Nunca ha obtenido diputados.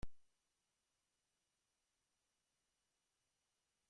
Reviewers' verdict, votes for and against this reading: rejected, 0, 2